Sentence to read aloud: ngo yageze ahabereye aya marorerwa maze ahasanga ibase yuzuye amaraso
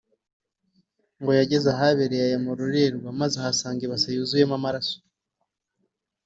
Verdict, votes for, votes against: accepted, 3, 0